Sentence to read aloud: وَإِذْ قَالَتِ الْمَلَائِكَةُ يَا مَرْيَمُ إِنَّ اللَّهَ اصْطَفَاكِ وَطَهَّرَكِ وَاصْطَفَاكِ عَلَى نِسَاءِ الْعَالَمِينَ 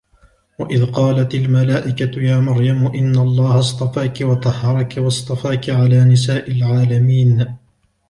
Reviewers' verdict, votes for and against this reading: accepted, 3, 0